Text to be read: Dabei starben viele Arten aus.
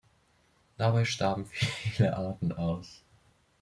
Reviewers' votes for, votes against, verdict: 0, 2, rejected